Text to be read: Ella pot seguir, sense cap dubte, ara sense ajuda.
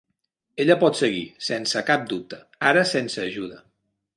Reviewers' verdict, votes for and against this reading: accepted, 4, 0